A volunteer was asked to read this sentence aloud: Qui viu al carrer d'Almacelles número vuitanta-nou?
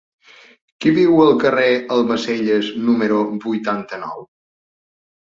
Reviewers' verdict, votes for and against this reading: rejected, 1, 2